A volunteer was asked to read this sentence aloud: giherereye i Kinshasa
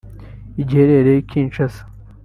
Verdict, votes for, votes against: rejected, 0, 2